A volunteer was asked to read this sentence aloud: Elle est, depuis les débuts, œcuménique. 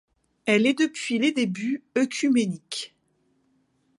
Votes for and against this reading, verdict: 2, 0, accepted